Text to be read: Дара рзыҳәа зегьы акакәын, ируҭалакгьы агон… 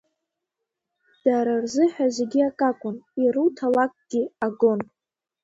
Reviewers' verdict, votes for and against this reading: accepted, 2, 0